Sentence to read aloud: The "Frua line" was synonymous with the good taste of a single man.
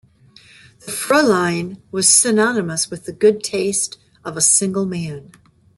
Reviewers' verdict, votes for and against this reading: accepted, 2, 0